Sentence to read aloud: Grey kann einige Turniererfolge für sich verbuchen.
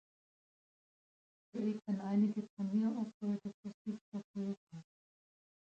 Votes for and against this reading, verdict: 0, 2, rejected